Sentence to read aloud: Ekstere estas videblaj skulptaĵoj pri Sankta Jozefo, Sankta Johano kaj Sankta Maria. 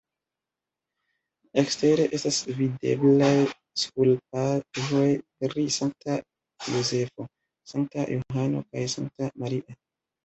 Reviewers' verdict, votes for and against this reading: rejected, 1, 2